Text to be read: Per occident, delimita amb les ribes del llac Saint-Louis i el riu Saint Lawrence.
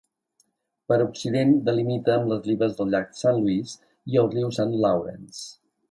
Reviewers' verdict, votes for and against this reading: accepted, 2, 0